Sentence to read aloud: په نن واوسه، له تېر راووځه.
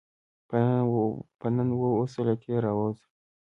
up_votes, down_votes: 1, 3